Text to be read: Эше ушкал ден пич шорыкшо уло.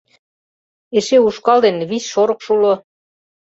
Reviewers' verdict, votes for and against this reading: rejected, 0, 2